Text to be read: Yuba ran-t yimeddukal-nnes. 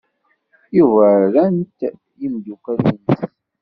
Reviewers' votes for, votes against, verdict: 0, 2, rejected